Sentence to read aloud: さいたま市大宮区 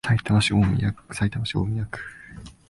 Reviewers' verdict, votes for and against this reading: accepted, 2, 0